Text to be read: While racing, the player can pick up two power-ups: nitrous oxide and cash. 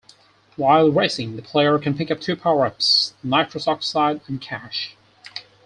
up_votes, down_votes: 4, 0